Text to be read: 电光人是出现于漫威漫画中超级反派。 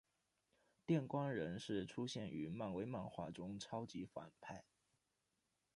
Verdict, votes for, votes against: accepted, 2, 0